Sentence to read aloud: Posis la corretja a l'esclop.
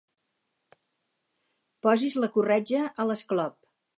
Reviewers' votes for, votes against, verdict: 4, 0, accepted